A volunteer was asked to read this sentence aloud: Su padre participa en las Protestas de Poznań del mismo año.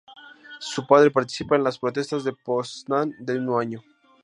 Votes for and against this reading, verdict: 0, 2, rejected